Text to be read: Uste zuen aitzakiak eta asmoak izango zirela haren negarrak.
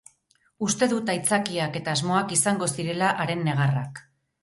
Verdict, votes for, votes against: rejected, 4, 6